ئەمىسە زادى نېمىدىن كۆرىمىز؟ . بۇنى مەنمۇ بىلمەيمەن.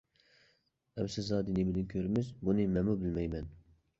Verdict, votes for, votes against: accepted, 2, 0